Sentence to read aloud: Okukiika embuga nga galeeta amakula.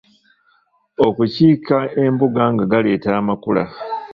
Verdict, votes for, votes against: rejected, 0, 2